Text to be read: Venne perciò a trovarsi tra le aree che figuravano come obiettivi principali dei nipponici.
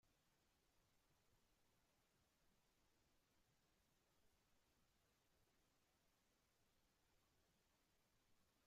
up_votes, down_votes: 0, 2